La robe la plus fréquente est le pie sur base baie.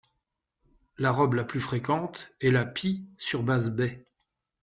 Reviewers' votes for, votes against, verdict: 1, 2, rejected